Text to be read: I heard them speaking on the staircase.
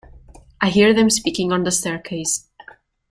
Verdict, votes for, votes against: rejected, 0, 2